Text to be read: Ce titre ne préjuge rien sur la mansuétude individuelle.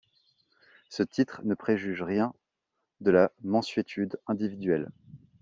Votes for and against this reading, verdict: 0, 2, rejected